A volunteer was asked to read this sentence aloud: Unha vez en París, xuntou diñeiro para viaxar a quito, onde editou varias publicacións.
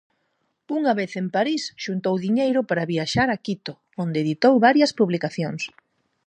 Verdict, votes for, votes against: accepted, 4, 0